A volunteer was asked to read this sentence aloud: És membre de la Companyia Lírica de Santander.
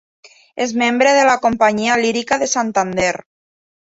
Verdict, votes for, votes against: accepted, 2, 0